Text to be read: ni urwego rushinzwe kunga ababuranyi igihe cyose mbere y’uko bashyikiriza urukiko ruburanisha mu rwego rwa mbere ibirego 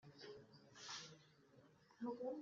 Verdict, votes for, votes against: rejected, 0, 2